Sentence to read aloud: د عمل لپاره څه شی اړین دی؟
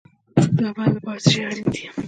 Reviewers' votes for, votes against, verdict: 2, 0, accepted